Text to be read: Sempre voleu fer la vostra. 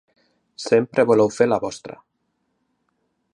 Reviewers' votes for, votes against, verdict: 2, 0, accepted